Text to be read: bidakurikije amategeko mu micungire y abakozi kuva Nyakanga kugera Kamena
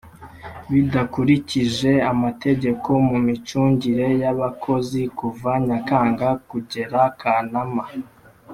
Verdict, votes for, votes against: rejected, 1, 2